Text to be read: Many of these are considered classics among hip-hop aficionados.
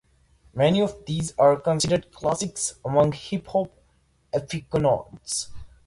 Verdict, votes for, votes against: rejected, 0, 2